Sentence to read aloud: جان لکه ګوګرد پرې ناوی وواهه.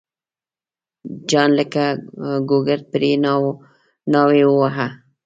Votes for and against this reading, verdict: 0, 2, rejected